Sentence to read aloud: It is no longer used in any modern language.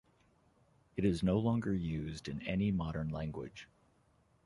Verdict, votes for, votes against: accepted, 2, 0